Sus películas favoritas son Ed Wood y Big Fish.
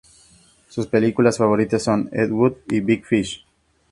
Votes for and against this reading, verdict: 4, 0, accepted